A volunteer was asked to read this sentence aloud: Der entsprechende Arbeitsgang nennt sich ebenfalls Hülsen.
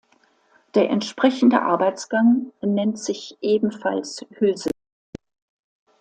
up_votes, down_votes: 1, 2